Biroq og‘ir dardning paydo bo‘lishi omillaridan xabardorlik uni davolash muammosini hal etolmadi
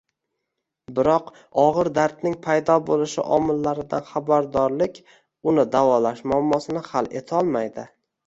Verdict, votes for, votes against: rejected, 1, 2